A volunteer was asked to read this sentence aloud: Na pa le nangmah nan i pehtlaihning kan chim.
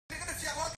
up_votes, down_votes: 0, 2